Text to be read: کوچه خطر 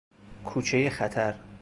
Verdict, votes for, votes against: rejected, 0, 2